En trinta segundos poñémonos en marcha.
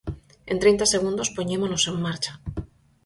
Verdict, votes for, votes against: accepted, 4, 0